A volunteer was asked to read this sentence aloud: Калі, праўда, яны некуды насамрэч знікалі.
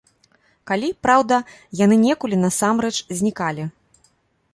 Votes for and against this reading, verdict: 1, 2, rejected